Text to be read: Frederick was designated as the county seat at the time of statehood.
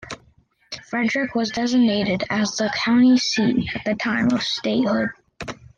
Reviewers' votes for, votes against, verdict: 2, 1, accepted